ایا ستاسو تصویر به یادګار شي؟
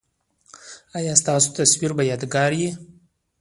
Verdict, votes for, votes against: rejected, 0, 2